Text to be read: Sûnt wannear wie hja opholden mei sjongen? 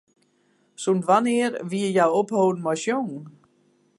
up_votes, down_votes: 2, 0